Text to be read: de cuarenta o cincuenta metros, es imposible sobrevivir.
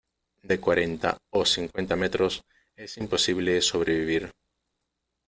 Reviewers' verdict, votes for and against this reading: accepted, 2, 0